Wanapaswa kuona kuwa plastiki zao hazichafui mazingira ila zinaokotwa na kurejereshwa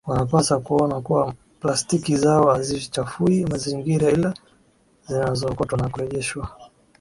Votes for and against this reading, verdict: 5, 4, accepted